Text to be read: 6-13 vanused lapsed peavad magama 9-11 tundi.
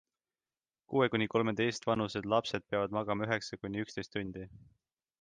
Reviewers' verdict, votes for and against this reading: rejected, 0, 2